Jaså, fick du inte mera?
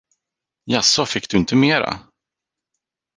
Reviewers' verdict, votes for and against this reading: accepted, 4, 0